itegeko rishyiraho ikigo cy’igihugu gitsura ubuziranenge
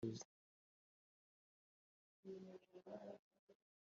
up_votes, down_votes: 1, 2